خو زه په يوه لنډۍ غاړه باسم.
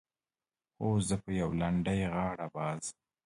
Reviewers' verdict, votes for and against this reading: rejected, 1, 2